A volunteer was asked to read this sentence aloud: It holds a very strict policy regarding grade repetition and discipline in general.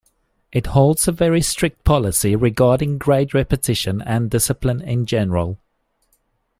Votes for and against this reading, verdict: 2, 0, accepted